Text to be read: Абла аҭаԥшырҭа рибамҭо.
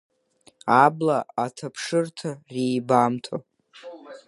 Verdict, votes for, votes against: accepted, 2, 1